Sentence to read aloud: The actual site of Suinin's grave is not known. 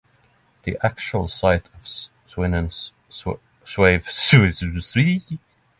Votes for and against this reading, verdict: 0, 3, rejected